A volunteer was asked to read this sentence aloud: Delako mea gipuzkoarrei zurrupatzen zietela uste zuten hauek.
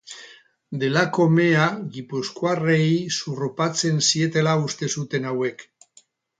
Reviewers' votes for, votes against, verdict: 2, 0, accepted